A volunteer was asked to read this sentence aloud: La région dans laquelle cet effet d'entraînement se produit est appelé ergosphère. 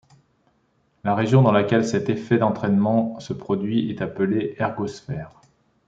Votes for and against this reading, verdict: 2, 0, accepted